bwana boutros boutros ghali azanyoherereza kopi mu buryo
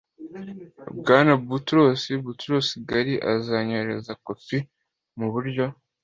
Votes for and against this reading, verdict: 2, 0, accepted